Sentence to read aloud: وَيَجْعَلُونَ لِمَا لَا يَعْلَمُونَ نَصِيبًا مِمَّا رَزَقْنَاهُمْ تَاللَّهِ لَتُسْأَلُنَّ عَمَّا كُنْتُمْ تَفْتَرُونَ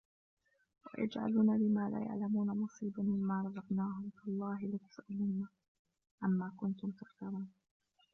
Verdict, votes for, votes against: rejected, 0, 2